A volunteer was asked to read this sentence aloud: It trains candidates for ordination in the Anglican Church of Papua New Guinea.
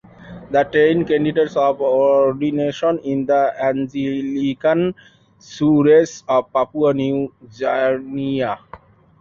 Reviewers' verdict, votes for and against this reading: rejected, 0, 2